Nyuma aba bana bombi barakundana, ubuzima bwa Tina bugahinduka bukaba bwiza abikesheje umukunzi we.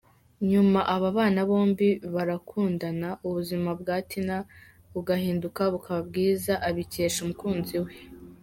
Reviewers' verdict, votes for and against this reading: accepted, 2, 0